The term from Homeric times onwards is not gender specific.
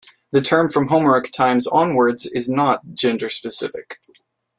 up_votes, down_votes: 1, 2